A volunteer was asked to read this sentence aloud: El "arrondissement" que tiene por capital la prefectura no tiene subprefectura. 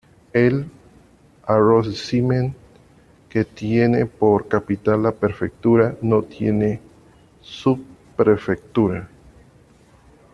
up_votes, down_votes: 1, 2